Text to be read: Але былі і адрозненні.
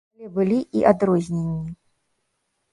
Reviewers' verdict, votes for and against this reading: rejected, 1, 2